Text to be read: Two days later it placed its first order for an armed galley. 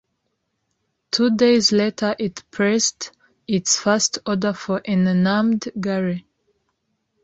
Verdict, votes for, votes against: rejected, 1, 3